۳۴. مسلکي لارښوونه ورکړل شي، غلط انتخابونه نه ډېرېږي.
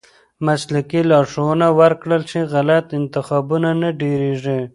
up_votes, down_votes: 0, 2